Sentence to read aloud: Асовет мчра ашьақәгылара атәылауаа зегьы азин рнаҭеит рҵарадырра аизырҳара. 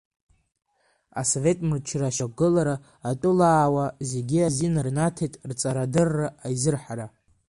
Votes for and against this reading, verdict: 2, 0, accepted